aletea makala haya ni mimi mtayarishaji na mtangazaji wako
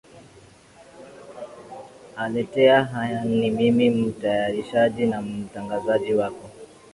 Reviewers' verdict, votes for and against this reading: accepted, 2, 0